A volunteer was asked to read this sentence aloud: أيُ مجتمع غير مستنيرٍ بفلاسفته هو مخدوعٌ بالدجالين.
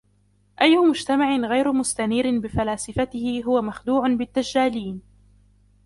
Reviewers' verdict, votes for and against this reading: accepted, 2, 1